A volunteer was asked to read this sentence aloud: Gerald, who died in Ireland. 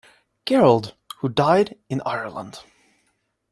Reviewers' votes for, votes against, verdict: 3, 0, accepted